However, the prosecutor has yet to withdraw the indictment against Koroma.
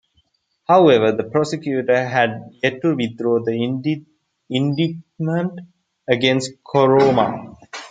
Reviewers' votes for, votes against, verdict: 1, 2, rejected